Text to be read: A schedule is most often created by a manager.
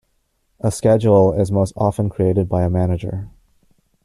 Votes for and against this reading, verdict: 2, 0, accepted